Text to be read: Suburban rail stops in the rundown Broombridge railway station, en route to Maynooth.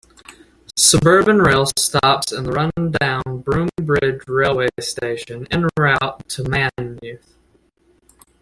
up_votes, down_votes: 1, 2